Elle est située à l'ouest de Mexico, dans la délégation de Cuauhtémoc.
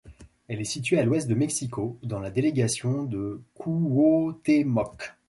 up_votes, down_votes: 1, 2